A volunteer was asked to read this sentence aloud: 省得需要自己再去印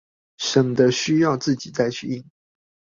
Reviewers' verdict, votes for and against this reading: accepted, 2, 0